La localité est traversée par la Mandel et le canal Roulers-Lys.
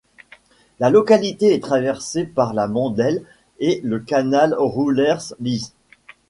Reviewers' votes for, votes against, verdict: 1, 2, rejected